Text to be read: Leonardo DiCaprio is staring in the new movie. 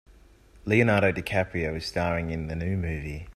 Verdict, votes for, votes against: accepted, 2, 1